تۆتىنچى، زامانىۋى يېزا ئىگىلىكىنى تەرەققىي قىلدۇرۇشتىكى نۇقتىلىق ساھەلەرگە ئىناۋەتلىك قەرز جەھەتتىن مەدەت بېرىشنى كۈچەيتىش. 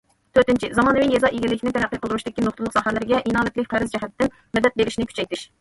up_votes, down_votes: 1, 2